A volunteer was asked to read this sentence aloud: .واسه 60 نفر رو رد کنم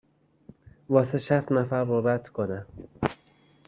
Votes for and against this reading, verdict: 0, 2, rejected